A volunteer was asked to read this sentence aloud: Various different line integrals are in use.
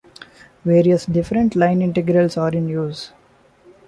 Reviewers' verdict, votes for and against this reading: accepted, 2, 0